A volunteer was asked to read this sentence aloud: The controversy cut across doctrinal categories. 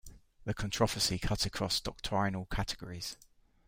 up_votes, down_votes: 2, 1